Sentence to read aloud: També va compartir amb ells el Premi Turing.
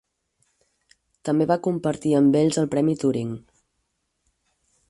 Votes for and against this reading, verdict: 4, 0, accepted